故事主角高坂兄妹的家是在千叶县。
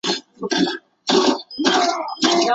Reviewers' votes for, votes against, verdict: 0, 2, rejected